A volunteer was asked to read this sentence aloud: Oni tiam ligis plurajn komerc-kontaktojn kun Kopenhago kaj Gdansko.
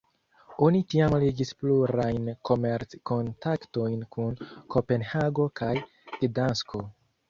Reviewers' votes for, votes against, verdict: 1, 2, rejected